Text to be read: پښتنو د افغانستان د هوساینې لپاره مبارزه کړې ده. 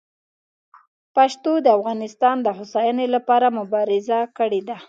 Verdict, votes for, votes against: rejected, 1, 2